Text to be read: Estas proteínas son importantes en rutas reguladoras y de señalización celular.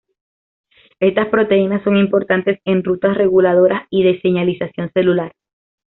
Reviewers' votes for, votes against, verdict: 2, 0, accepted